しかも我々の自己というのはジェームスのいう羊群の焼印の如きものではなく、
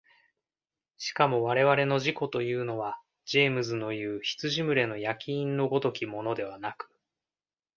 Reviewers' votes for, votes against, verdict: 1, 2, rejected